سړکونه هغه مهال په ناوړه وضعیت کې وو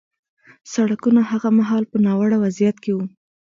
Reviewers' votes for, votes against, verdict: 1, 2, rejected